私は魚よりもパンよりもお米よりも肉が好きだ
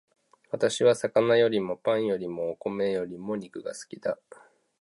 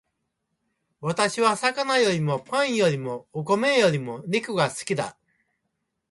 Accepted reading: second